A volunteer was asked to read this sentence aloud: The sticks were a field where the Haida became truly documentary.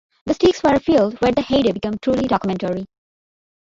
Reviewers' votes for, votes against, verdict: 1, 2, rejected